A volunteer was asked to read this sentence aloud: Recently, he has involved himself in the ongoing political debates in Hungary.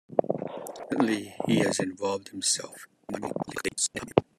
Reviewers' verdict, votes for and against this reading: rejected, 0, 2